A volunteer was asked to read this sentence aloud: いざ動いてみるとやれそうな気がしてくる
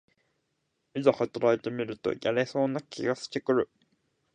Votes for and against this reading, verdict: 1, 2, rejected